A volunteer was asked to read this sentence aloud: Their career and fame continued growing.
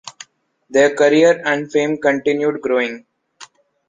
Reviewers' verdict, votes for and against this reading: accepted, 2, 0